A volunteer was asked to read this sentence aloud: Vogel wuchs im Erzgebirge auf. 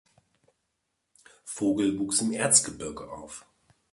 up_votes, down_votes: 0, 2